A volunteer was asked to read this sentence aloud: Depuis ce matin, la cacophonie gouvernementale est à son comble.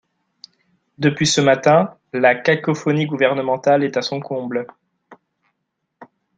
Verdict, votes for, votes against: accepted, 2, 0